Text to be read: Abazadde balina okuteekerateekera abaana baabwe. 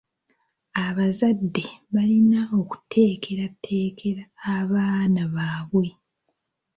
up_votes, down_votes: 2, 0